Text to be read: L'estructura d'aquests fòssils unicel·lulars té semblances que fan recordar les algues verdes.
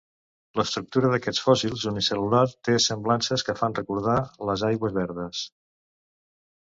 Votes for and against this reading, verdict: 0, 2, rejected